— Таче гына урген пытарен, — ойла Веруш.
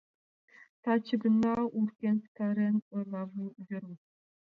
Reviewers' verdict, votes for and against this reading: accepted, 2, 1